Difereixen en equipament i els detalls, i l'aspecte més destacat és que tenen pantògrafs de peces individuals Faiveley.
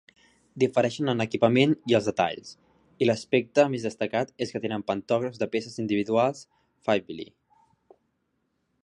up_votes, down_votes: 2, 0